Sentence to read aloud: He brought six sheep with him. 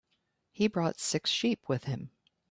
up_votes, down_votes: 2, 0